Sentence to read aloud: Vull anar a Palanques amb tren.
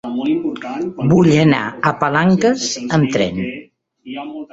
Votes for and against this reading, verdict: 0, 2, rejected